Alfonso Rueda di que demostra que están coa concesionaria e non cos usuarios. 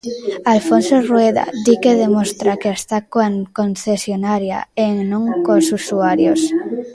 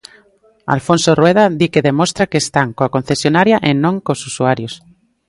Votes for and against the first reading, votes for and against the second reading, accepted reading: 0, 2, 2, 0, second